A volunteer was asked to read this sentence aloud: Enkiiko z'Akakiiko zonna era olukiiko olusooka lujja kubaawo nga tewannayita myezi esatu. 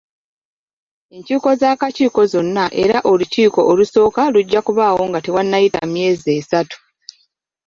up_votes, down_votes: 1, 2